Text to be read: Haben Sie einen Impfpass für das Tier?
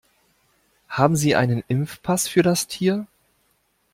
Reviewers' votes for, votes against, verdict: 2, 0, accepted